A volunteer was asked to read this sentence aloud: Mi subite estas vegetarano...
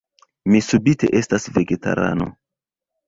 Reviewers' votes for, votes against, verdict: 1, 2, rejected